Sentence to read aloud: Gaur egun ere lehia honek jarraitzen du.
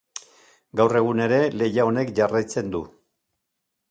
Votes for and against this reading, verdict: 2, 0, accepted